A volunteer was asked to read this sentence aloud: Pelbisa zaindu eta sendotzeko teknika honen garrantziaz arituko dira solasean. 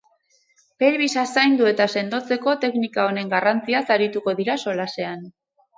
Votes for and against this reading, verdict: 2, 2, rejected